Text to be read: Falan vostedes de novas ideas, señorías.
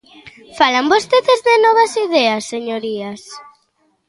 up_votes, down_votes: 2, 0